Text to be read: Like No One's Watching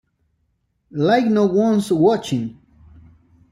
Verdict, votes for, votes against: rejected, 1, 2